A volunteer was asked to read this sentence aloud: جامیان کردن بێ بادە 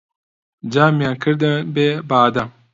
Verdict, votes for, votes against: accepted, 2, 0